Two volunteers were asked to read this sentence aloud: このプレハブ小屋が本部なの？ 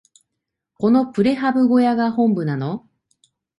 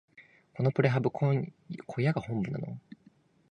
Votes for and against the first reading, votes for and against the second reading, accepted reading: 2, 0, 1, 2, first